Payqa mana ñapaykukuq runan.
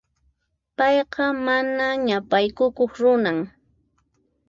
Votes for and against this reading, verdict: 2, 4, rejected